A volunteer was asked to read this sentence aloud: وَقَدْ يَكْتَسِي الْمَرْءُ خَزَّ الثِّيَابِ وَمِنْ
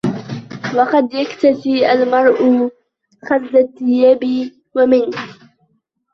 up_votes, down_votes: 1, 2